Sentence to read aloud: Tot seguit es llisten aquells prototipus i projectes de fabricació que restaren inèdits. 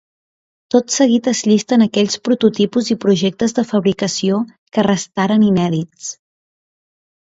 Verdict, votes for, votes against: accepted, 2, 0